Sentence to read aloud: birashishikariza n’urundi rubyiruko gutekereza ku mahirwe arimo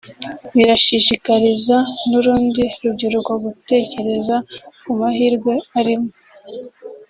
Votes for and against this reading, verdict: 2, 0, accepted